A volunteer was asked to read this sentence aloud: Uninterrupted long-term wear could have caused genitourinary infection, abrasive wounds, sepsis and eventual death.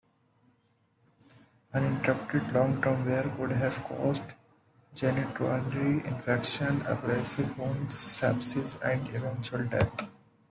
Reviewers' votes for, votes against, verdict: 2, 1, accepted